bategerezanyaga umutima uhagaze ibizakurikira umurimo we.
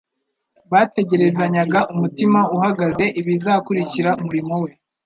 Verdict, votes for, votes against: accepted, 2, 0